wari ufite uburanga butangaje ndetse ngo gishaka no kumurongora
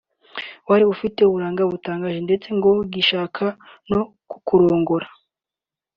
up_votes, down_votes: 0, 2